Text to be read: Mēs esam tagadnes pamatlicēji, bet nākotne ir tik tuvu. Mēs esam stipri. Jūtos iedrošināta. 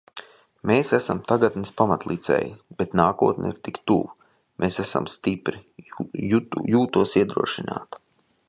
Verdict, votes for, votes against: rejected, 0, 2